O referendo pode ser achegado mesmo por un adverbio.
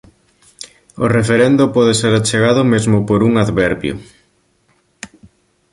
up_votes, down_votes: 2, 0